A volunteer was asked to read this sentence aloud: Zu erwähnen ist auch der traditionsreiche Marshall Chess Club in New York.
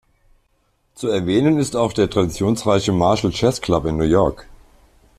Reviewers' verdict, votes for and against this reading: accepted, 2, 0